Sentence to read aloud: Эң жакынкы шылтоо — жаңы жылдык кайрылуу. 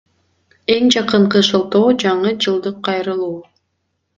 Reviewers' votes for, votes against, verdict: 2, 1, accepted